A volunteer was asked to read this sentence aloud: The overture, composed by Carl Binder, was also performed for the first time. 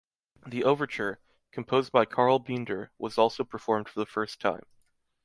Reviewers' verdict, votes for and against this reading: accepted, 2, 0